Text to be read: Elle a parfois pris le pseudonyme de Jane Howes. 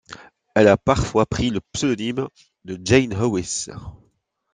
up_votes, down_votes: 2, 0